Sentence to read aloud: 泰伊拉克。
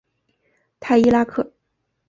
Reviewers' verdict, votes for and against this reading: accepted, 2, 0